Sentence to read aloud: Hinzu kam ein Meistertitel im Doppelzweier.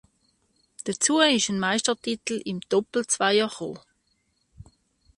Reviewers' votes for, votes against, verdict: 0, 2, rejected